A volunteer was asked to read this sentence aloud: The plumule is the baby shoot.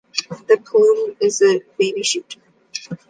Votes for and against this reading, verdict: 1, 2, rejected